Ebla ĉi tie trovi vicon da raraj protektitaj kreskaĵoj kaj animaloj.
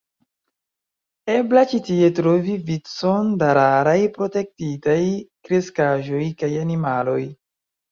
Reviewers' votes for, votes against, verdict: 0, 2, rejected